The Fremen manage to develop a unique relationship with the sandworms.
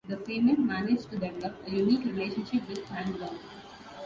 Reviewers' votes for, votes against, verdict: 0, 2, rejected